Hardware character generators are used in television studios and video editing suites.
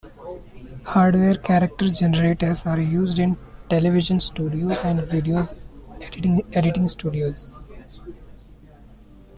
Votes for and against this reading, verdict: 1, 3, rejected